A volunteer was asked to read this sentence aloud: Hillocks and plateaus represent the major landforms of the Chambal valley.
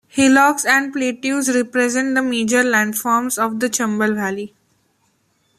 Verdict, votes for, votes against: rejected, 1, 2